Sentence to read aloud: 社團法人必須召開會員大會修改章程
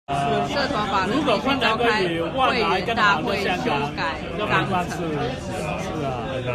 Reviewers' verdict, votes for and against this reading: rejected, 0, 2